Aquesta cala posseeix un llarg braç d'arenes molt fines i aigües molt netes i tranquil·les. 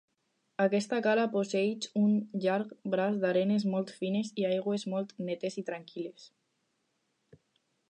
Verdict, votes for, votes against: accepted, 4, 0